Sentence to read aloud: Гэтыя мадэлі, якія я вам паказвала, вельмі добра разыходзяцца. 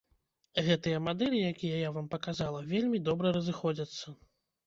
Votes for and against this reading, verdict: 0, 2, rejected